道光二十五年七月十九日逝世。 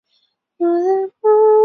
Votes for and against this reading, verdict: 0, 2, rejected